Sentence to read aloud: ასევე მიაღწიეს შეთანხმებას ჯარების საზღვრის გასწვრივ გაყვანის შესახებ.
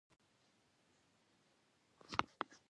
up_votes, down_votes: 0, 2